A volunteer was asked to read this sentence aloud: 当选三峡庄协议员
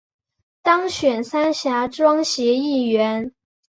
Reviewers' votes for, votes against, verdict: 3, 0, accepted